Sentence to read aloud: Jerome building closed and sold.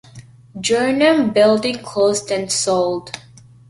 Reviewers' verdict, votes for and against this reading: rejected, 1, 2